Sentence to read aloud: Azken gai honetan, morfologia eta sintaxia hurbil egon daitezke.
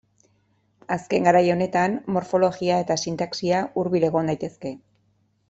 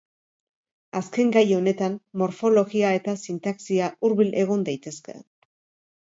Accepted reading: second